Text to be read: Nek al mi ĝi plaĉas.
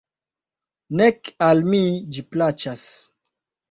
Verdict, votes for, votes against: accepted, 2, 1